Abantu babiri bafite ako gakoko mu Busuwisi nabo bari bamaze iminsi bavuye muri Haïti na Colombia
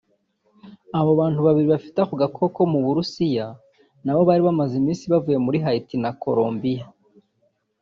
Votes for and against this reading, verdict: 0, 2, rejected